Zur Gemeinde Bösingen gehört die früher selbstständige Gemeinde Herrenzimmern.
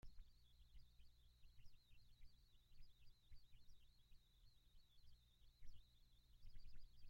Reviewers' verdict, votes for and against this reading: rejected, 0, 2